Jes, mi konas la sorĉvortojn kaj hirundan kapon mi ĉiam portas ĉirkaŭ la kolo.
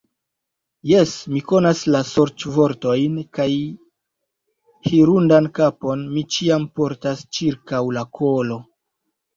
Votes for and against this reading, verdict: 2, 0, accepted